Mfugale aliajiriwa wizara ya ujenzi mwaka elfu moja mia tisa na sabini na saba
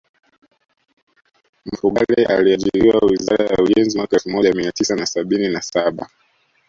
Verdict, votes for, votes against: rejected, 0, 2